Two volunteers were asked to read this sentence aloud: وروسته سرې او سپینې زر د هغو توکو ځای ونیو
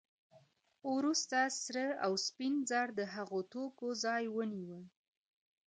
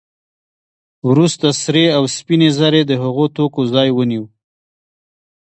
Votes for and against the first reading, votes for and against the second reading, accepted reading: 0, 2, 2, 1, second